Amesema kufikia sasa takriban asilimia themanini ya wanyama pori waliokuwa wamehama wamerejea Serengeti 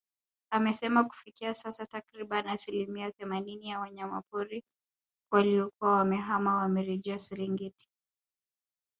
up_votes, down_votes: 0, 2